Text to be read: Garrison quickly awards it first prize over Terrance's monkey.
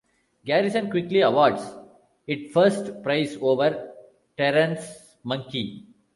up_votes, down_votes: 0, 2